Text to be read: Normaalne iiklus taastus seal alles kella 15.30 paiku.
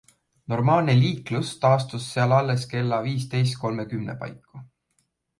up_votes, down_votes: 0, 2